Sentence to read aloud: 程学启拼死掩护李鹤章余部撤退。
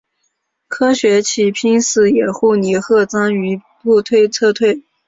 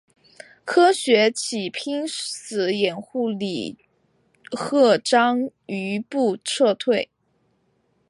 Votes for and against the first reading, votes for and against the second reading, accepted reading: 1, 3, 4, 1, second